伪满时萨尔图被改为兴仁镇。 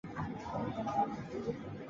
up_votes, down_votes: 1, 3